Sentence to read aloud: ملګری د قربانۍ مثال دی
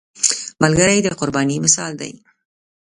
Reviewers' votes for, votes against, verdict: 0, 2, rejected